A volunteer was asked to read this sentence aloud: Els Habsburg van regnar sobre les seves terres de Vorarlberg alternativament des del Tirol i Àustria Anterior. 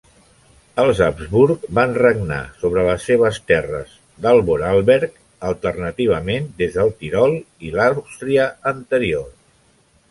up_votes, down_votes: 2, 0